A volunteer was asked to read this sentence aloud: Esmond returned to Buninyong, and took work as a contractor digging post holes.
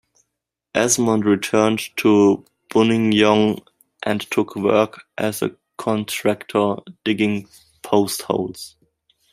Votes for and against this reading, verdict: 2, 0, accepted